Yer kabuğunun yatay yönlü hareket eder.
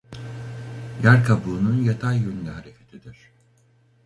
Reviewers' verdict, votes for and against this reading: rejected, 0, 2